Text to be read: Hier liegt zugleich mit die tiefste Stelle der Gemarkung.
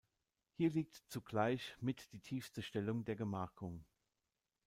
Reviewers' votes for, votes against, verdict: 0, 2, rejected